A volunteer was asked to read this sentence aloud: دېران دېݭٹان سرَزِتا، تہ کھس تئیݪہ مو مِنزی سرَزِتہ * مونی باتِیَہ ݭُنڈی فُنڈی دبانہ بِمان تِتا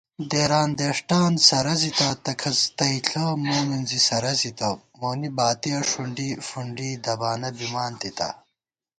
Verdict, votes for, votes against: accepted, 2, 0